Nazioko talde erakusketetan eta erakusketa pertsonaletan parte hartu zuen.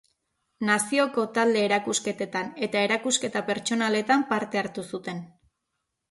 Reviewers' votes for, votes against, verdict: 1, 2, rejected